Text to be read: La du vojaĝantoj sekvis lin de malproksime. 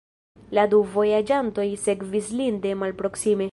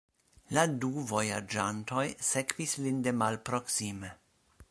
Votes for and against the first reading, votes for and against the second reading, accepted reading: 1, 2, 2, 0, second